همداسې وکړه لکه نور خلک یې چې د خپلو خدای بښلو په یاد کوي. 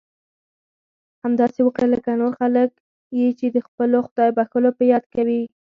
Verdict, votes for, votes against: accepted, 4, 0